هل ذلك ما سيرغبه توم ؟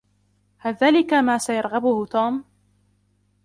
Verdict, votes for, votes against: accepted, 2, 0